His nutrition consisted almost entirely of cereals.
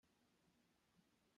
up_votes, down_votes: 0, 2